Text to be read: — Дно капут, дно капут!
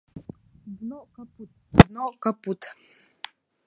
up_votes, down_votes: 0, 2